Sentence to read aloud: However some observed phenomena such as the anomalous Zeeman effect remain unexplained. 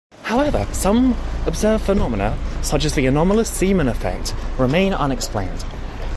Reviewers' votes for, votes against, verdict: 2, 0, accepted